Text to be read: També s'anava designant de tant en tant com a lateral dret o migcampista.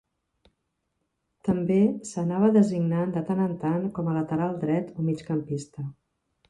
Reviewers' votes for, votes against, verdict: 2, 0, accepted